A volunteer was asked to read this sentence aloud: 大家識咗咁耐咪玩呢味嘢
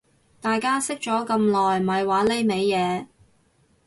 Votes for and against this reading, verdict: 2, 0, accepted